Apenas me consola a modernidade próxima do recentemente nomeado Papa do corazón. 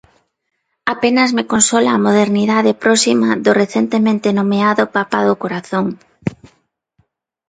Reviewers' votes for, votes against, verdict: 2, 0, accepted